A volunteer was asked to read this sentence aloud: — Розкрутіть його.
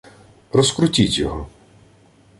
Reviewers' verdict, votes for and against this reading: accepted, 2, 0